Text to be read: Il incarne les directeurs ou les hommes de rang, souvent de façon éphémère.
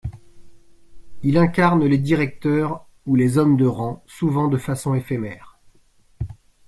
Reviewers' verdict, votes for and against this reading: accepted, 2, 0